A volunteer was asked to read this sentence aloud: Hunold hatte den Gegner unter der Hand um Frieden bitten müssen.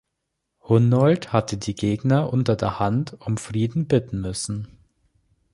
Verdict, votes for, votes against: rejected, 1, 2